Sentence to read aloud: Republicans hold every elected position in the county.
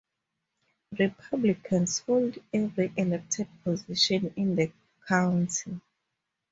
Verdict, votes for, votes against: accepted, 2, 0